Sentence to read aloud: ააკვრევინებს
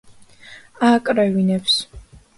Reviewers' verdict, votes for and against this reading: accepted, 2, 0